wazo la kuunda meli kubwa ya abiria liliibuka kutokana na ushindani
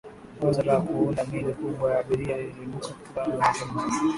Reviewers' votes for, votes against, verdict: 0, 2, rejected